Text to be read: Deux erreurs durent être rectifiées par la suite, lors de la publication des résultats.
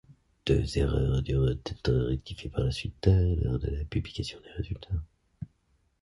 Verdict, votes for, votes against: rejected, 1, 2